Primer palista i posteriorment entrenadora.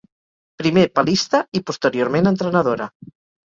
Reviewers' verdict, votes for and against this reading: accepted, 4, 0